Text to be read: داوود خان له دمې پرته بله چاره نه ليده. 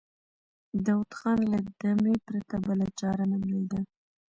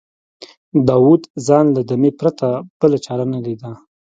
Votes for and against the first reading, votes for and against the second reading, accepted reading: 2, 0, 0, 2, first